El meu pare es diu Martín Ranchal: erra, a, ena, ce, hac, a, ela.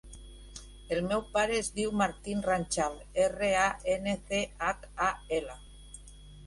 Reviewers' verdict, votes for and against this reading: rejected, 0, 2